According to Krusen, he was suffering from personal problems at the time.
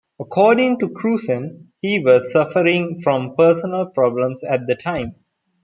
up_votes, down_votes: 2, 0